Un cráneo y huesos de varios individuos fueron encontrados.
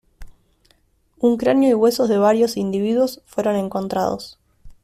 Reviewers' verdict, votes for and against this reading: accepted, 2, 0